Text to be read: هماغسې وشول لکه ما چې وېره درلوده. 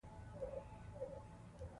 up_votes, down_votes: 0, 2